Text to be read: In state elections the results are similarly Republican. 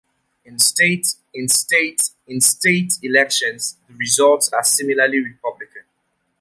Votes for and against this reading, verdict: 0, 2, rejected